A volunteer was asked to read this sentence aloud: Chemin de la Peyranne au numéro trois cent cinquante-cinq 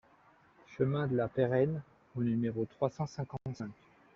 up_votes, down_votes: 1, 2